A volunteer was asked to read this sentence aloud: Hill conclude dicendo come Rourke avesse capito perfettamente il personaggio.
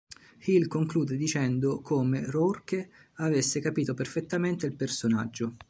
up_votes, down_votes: 3, 0